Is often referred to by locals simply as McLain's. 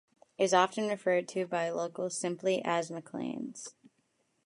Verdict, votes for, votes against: accepted, 2, 0